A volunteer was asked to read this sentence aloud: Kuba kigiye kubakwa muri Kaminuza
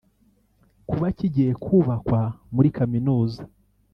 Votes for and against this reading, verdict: 0, 2, rejected